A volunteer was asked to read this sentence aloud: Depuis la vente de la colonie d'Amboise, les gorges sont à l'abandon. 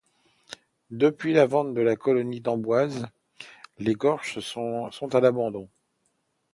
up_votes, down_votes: 0, 2